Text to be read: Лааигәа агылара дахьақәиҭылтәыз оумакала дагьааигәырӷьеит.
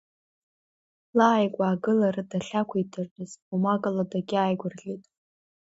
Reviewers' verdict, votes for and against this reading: rejected, 1, 2